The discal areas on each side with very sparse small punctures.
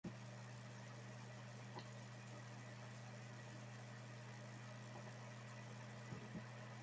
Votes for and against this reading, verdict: 0, 2, rejected